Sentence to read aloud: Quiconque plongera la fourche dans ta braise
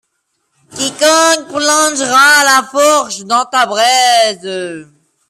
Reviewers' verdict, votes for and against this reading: accepted, 2, 0